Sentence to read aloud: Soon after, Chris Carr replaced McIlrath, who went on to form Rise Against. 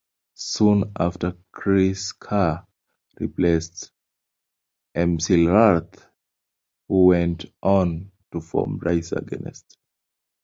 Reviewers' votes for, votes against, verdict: 0, 2, rejected